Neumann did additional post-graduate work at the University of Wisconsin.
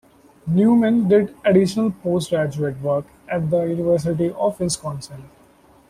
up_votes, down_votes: 2, 0